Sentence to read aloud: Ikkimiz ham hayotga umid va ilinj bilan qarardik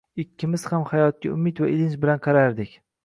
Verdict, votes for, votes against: accepted, 2, 0